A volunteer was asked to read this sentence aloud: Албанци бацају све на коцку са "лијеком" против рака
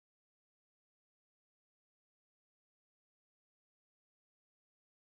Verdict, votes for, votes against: rejected, 0, 2